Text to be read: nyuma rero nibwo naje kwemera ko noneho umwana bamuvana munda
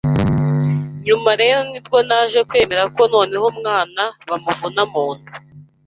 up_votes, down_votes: 1, 2